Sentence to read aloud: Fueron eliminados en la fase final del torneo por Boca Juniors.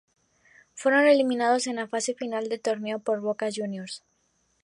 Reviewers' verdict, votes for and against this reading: accepted, 2, 0